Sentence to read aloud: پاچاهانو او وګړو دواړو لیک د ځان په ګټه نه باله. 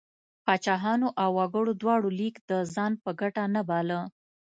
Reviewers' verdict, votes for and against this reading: accepted, 2, 0